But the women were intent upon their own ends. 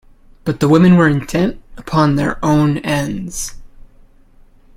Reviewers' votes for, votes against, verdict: 2, 0, accepted